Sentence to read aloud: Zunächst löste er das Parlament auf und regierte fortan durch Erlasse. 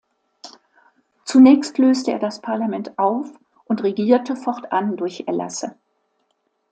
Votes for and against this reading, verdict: 2, 0, accepted